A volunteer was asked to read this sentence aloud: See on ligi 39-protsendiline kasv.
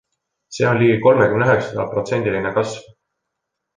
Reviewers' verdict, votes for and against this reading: rejected, 0, 2